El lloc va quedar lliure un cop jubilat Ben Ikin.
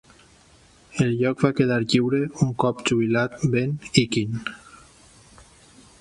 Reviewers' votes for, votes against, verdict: 1, 2, rejected